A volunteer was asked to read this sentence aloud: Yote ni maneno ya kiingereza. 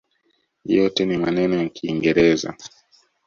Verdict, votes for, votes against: accepted, 2, 0